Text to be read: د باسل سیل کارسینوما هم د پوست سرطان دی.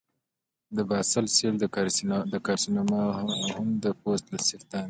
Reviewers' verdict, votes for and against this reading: accepted, 2, 0